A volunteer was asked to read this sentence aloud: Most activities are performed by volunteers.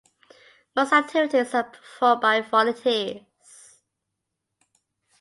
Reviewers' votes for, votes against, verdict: 0, 2, rejected